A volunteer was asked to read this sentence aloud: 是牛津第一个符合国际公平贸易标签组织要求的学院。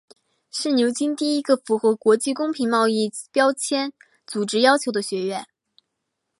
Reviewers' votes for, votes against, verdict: 2, 0, accepted